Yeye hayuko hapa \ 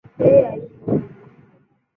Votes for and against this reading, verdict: 0, 2, rejected